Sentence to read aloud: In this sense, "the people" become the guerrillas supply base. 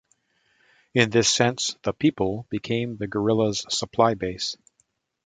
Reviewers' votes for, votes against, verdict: 2, 0, accepted